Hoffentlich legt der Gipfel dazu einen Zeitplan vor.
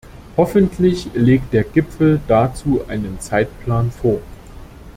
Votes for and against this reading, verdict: 2, 1, accepted